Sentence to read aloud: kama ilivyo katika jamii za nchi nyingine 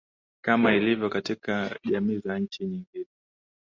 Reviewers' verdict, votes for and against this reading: accepted, 5, 1